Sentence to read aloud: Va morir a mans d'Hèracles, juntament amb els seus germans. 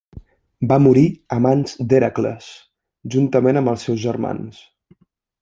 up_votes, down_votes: 2, 0